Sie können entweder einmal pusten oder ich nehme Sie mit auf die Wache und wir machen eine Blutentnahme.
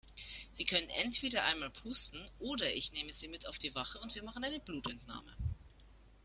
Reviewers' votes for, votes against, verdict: 2, 0, accepted